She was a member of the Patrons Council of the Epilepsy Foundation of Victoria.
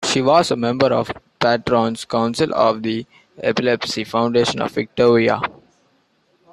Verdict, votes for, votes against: rejected, 0, 2